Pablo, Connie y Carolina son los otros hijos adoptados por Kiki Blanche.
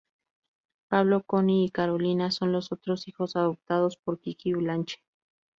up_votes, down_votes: 6, 0